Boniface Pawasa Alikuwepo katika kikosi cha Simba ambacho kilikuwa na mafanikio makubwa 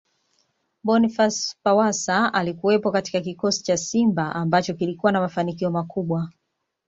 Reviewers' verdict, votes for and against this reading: accepted, 2, 0